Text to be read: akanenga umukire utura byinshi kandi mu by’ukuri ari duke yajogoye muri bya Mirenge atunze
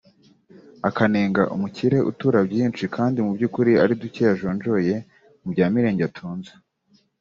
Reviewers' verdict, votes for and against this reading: accepted, 2, 0